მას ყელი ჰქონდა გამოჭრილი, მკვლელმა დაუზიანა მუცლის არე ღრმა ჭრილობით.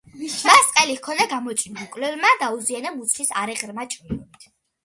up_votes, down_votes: 1, 2